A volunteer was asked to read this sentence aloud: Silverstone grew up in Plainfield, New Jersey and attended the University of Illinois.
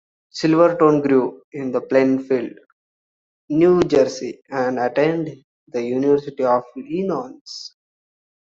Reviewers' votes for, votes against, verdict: 0, 2, rejected